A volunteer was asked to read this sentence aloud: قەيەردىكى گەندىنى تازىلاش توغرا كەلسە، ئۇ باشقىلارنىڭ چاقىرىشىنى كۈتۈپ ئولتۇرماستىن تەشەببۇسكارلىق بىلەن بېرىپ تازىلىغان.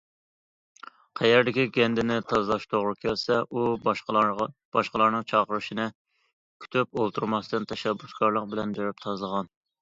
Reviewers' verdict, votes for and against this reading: rejected, 0, 2